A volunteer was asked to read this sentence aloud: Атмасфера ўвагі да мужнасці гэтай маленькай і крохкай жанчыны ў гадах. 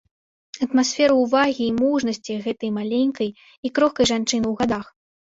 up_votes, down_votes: 0, 2